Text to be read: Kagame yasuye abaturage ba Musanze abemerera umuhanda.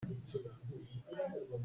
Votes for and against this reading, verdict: 0, 2, rejected